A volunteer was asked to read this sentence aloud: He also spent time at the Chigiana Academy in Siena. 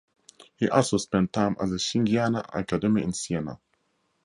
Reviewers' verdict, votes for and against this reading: rejected, 0, 2